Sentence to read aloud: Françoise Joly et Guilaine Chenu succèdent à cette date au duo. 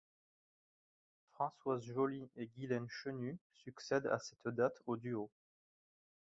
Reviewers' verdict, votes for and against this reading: rejected, 2, 4